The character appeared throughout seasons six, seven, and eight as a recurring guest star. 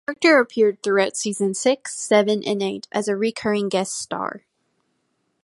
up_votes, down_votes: 0, 2